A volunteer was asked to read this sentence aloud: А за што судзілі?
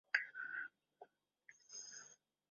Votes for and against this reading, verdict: 0, 2, rejected